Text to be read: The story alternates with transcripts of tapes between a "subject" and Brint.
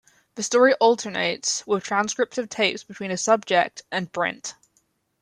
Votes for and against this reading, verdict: 3, 0, accepted